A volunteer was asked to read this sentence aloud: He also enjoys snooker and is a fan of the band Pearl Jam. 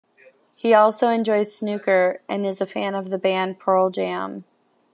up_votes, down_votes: 1, 2